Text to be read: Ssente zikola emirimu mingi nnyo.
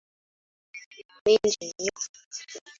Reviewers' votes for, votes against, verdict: 0, 2, rejected